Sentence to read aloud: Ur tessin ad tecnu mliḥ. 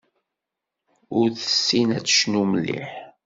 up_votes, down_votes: 2, 0